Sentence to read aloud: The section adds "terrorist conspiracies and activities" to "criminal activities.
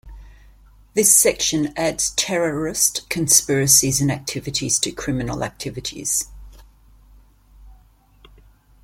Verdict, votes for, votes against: accepted, 2, 0